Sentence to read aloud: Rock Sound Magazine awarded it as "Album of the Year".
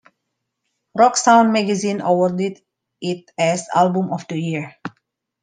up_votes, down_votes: 2, 0